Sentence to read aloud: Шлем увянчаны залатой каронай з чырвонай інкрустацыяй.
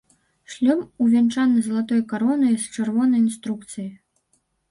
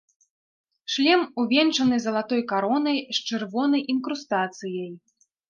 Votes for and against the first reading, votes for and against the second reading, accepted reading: 0, 2, 2, 0, second